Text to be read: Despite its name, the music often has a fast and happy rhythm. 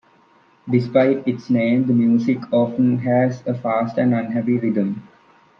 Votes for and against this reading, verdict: 1, 2, rejected